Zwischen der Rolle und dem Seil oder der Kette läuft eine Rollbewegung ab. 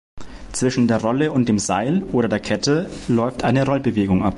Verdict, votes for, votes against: accepted, 2, 0